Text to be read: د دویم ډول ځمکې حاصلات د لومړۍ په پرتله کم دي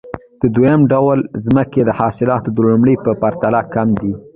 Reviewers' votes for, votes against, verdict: 1, 2, rejected